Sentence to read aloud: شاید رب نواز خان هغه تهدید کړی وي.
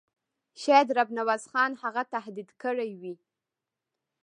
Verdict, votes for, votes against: rejected, 0, 2